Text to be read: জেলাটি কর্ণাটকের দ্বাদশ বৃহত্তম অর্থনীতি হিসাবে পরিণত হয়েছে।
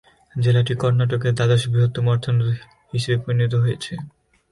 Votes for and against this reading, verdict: 2, 4, rejected